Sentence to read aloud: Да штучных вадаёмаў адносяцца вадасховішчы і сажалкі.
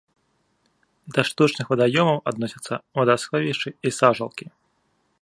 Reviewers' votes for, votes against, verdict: 2, 0, accepted